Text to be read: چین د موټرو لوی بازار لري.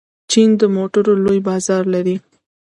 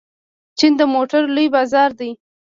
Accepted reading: first